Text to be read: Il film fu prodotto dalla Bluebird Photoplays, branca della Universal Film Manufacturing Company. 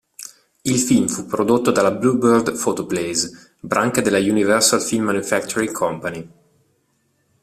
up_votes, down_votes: 2, 0